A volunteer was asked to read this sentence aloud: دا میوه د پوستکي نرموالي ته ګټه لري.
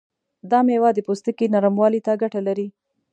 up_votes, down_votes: 2, 0